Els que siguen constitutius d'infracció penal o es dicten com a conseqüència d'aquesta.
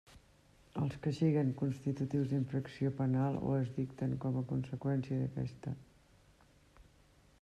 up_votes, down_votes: 2, 0